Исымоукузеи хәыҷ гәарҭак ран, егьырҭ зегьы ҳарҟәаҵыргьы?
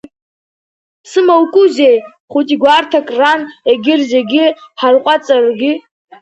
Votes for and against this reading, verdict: 1, 2, rejected